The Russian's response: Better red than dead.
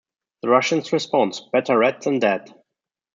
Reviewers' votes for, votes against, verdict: 2, 0, accepted